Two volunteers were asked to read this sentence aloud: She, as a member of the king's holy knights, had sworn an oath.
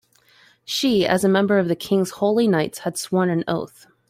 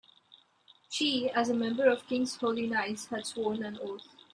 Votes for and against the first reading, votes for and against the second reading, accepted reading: 2, 0, 2, 3, first